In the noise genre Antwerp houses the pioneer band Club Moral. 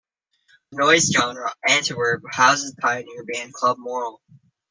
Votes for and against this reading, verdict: 0, 2, rejected